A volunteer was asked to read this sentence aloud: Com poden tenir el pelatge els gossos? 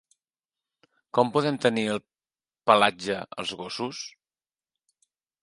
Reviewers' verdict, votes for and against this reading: rejected, 0, 2